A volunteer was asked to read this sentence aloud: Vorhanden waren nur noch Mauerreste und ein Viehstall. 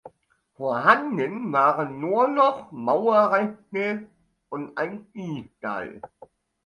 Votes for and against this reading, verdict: 2, 0, accepted